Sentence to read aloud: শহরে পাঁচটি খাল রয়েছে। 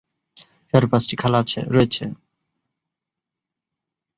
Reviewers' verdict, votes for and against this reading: rejected, 0, 2